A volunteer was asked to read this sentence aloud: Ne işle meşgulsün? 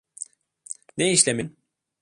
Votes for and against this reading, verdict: 0, 2, rejected